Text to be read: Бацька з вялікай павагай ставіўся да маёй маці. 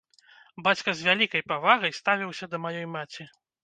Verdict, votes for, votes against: accepted, 2, 0